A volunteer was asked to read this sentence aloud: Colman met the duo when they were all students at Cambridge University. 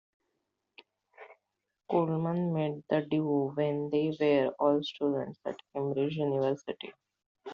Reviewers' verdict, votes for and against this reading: accepted, 2, 0